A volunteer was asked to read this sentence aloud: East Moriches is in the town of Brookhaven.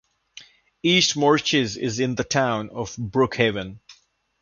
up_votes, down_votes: 2, 0